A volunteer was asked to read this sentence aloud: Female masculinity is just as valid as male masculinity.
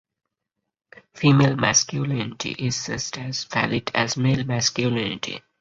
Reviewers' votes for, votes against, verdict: 4, 2, accepted